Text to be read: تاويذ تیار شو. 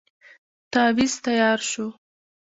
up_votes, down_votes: 1, 2